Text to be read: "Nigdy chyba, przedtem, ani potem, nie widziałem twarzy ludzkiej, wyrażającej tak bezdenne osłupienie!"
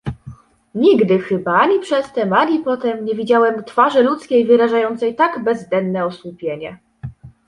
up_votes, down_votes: 0, 2